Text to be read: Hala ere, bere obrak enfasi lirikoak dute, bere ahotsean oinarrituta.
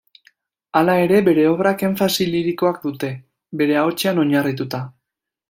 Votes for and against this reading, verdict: 2, 0, accepted